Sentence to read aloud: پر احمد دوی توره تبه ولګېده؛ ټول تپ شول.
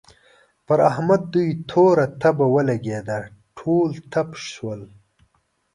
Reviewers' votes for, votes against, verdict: 2, 0, accepted